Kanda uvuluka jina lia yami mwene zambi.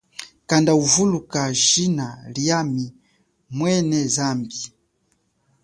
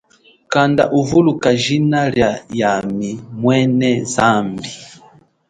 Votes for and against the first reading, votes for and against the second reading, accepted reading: 1, 2, 2, 0, second